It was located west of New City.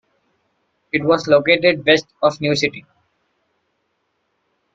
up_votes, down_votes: 0, 2